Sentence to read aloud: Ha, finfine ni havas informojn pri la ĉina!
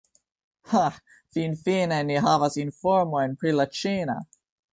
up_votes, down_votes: 2, 0